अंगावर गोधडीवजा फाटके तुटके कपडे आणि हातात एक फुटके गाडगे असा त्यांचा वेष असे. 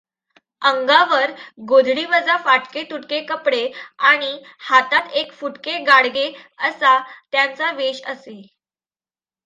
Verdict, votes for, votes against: accepted, 2, 0